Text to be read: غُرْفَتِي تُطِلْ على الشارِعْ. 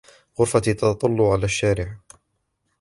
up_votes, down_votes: 1, 2